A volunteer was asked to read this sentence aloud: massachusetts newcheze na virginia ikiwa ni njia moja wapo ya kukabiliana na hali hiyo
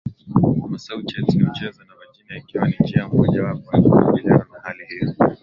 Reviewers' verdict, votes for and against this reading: rejected, 0, 3